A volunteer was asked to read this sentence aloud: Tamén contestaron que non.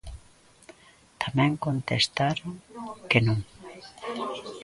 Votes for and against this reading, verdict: 2, 0, accepted